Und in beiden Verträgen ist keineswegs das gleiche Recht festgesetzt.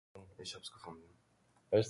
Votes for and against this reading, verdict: 0, 2, rejected